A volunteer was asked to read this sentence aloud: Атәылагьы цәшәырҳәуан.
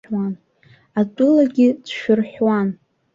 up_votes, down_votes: 1, 2